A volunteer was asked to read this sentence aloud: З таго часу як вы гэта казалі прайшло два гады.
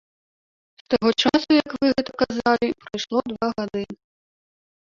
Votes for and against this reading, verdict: 1, 2, rejected